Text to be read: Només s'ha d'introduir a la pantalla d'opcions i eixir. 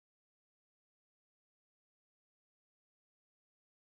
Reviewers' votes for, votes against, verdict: 0, 2, rejected